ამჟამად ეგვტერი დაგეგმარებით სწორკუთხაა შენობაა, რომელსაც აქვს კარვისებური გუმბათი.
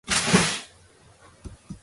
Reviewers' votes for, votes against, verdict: 1, 2, rejected